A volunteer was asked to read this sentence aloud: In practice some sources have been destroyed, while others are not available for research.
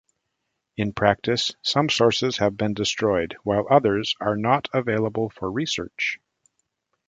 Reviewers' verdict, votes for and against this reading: accepted, 2, 0